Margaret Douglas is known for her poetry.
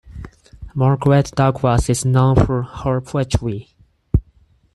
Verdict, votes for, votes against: rejected, 2, 4